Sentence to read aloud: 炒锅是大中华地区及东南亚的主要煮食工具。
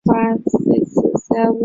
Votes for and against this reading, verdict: 2, 3, rejected